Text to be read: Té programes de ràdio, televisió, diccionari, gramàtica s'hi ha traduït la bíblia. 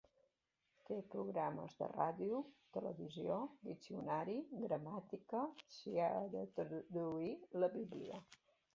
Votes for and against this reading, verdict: 0, 2, rejected